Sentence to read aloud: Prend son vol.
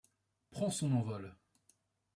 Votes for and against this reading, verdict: 0, 2, rejected